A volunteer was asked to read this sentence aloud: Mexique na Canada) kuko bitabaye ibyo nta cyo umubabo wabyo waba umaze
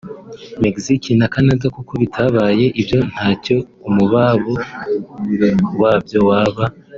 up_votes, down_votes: 1, 2